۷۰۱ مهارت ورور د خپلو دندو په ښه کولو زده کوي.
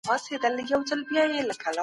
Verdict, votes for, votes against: rejected, 0, 2